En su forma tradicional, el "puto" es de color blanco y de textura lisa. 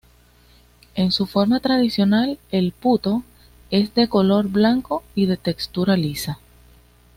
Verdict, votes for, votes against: accepted, 2, 0